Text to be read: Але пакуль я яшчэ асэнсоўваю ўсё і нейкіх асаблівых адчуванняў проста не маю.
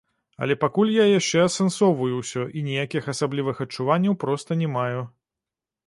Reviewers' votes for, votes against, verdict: 0, 3, rejected